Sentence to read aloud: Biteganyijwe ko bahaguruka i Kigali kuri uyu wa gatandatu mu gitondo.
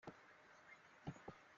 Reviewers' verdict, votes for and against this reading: rejected, 0, 3